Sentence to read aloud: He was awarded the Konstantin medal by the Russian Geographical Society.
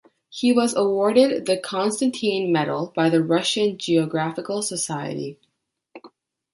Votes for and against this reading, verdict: 1, 2, rejected